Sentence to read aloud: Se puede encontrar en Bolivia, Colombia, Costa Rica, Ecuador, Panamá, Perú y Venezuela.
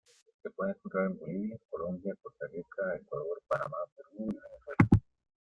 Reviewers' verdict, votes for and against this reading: rejected, 1, 2